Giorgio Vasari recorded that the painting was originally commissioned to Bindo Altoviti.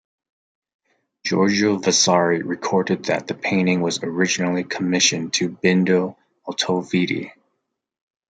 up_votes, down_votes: 1, 2